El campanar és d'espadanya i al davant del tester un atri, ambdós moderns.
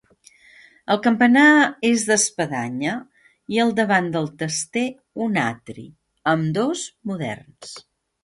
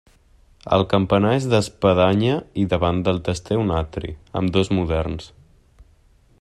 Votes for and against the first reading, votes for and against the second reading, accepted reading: 3, 0, 0, 2, first